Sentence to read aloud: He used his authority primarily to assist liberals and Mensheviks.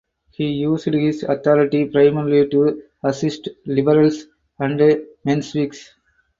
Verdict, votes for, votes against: accepted, 4, 2